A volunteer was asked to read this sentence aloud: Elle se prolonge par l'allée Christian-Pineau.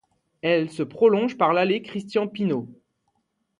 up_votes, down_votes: 2, 0